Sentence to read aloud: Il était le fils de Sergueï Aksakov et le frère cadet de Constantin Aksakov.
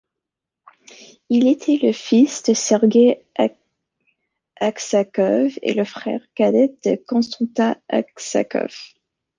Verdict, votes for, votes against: rejected, 1, 2